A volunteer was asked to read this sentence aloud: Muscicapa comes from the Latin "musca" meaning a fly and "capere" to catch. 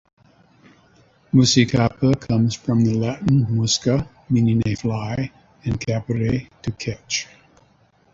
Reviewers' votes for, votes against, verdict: 2, 0, accepted